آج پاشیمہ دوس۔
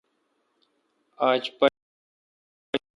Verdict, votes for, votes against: rejected, 1, 2